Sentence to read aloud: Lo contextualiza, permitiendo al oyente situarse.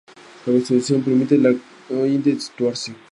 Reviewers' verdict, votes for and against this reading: rejected, 0, 2